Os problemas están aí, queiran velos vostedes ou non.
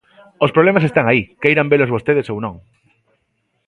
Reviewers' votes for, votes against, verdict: 2, 0, accepted